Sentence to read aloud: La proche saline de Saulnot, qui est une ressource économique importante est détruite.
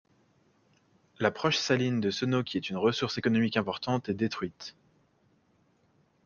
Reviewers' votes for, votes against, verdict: 1, 2, rejected